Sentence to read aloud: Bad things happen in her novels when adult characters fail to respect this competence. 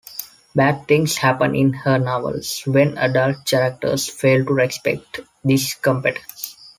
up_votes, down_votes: 3, 1